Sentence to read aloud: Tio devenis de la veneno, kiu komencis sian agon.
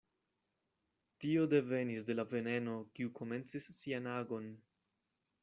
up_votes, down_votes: 2, 0